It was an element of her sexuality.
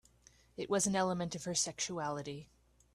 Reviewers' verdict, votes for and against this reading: accepted, 3, 0